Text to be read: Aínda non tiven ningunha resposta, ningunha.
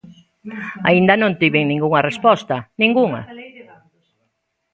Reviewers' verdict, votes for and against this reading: accepted, 2, 0